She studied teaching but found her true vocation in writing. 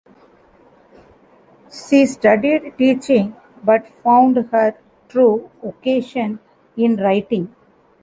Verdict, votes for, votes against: accepted, 2, 1